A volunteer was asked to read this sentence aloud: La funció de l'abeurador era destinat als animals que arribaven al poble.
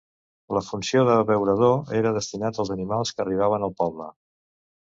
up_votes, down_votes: 1, 2